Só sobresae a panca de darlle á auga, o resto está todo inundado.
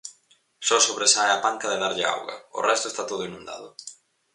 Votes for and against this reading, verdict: 4, 0, accepted